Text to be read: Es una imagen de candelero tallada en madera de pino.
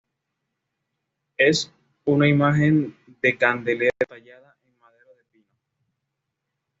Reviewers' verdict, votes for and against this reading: accepted, 2, 0